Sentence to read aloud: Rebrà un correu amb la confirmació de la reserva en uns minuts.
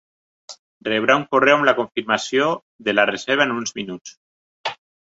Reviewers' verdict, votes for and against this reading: accepted, 2, 0